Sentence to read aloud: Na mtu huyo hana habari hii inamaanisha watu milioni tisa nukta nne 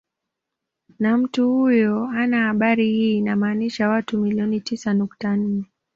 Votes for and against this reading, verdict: 2, 0, accepted